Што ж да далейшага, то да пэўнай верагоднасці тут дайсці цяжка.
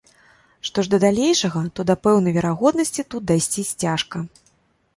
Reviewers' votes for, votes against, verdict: 1, 2, rejected